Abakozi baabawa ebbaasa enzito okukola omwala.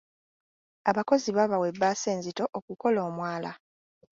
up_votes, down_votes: 3, 0